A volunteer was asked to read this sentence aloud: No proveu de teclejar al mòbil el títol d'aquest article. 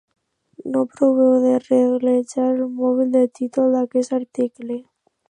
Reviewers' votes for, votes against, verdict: 1, 2, rejected